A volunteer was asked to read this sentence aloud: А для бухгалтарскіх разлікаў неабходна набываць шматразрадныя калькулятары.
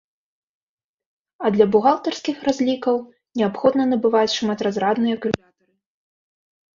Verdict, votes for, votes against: rejected, 0, 2